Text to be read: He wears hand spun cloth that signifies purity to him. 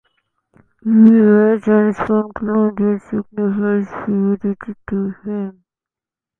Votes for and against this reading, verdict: 2, 1, accepted